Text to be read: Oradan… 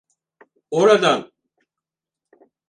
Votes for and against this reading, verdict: 2, 4, rejected